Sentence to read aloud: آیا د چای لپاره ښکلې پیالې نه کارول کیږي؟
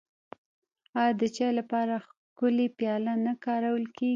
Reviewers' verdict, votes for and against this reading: accepted, 2, 0